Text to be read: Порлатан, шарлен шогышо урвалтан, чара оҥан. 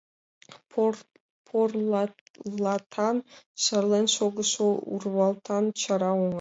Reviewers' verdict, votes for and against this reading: accepted, 2, 1